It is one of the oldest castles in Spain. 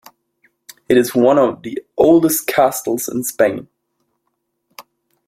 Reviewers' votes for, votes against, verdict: 2, 0, accepted